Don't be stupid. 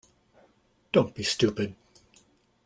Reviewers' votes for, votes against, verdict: 2, 0, accepted